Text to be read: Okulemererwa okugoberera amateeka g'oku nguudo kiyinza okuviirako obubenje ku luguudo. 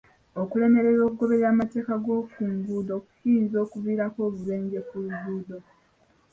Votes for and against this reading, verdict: 2, 0, accepted